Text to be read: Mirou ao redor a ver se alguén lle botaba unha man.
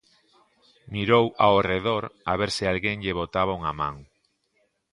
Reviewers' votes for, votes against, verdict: 2, 0, accepted